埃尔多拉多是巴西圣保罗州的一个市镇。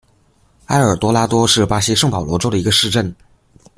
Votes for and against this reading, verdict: 2, 0, accepted